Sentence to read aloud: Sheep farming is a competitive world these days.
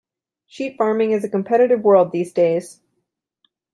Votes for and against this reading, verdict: 2, 0, accepted